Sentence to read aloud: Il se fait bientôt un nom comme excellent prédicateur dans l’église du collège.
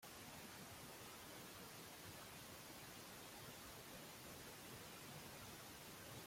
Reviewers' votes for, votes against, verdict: 0, 2, rejected